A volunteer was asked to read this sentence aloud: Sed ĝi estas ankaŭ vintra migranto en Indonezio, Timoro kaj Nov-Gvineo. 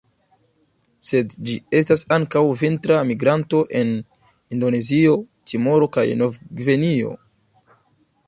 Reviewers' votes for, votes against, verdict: 2, 0, accepted